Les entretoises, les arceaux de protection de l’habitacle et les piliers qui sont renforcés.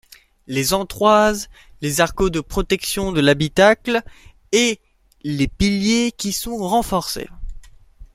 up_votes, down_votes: 0, 2